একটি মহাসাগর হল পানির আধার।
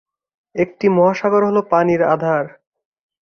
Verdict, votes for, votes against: accepted, 2, 0